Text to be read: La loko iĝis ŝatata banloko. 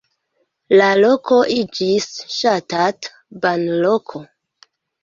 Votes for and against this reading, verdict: 2, 0, accepted